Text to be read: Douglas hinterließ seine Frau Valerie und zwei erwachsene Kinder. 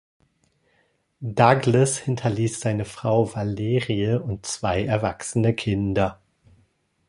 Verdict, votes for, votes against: rejected, 1, 2